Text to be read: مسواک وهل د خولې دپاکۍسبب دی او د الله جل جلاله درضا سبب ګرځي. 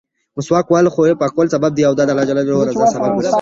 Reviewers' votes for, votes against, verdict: 2, 1, accepted